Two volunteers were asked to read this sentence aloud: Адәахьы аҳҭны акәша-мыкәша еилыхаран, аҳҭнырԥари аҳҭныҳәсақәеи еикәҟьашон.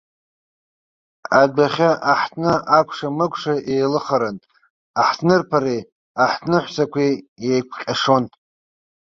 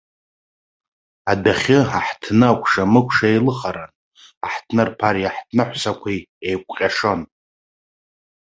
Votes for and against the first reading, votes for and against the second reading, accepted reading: 1, 2, 2, 0, second